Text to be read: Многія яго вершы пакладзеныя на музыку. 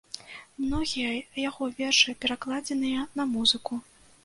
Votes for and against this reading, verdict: 1, 2, rejected